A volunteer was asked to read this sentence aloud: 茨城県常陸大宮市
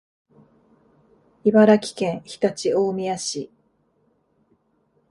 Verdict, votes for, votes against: accepted, 3, 0